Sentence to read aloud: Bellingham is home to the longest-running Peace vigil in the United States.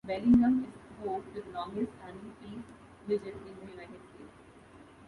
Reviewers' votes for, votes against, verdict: 1, 2, rejected